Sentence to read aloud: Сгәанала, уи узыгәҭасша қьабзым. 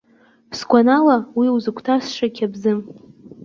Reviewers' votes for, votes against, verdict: 0, 2, rejected